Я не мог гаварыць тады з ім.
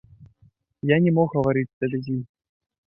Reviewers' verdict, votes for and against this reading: accepted, 2, 0